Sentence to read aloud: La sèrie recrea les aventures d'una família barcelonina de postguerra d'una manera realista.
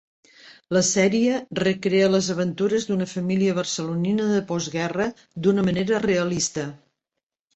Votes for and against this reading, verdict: 0, 2, rejected